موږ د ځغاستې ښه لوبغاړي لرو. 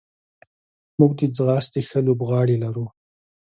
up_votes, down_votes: 0, 2